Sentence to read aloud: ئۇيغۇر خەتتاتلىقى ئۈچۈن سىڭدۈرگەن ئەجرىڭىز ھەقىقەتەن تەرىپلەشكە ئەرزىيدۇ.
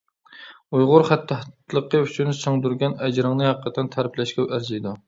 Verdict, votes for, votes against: rejected, 1, 2